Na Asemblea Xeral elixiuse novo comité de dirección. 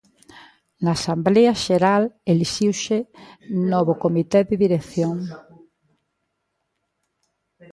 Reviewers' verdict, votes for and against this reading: rejected, 1, 2